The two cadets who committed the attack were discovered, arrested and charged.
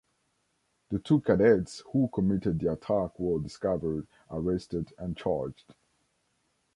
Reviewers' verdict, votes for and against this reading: accepted, 2, 0